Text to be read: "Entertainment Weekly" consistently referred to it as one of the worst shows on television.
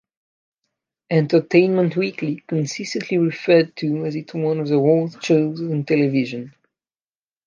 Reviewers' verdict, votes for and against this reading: rejected, 0, 2